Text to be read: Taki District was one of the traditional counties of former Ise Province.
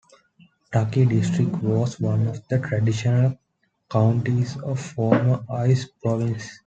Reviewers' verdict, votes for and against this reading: accepted, 2, 0